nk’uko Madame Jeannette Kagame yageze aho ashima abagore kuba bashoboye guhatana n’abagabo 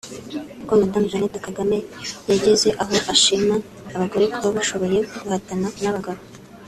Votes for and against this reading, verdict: 1, 2, rejected